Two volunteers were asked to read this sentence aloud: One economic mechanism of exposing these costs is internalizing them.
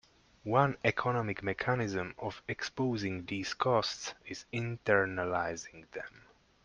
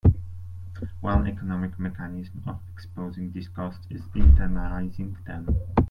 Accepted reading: first